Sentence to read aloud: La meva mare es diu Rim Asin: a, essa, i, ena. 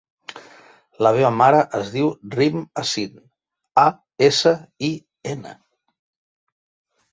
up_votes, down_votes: 3, 1